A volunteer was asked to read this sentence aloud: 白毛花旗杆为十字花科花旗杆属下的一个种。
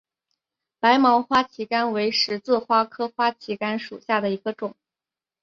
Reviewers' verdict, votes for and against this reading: accepted, 5, 1